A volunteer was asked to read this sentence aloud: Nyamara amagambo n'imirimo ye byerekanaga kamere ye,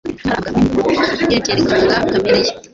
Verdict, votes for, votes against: rejected, 1, 2